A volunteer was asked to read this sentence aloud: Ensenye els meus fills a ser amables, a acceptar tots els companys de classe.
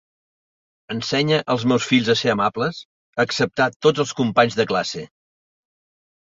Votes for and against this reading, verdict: 2, 0, accepted